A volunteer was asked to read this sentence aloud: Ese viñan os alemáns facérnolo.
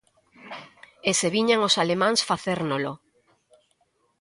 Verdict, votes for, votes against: accepted, 2, 0